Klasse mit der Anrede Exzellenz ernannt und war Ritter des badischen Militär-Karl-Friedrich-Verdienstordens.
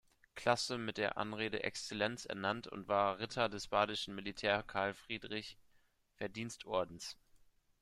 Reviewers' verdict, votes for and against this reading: accepted, 2, 1